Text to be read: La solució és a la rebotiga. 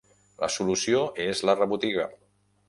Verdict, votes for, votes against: rejected, 2, 3